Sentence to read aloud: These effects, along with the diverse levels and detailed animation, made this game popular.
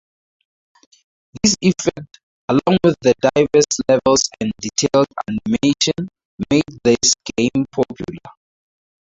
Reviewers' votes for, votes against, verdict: 0, 4, rejected